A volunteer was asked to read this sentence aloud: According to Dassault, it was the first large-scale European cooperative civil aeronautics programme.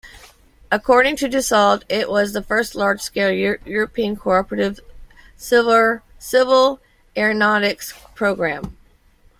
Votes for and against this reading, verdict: 1, 2, rejected